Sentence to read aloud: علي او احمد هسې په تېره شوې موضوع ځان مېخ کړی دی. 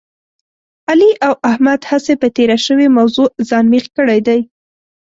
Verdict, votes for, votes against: accepted, 3, 1